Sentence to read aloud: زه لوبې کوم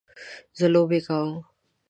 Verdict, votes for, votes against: accepted, 3, 0